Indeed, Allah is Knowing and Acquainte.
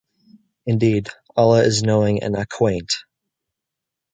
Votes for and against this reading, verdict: 2, 0, accepted